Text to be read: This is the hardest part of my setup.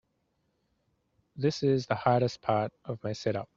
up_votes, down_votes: 2, 0